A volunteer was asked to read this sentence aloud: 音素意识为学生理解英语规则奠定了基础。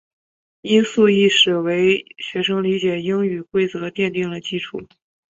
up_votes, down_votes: 5, 1